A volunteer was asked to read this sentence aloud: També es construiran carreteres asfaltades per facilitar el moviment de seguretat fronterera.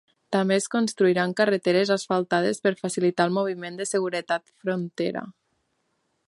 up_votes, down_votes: 1, 2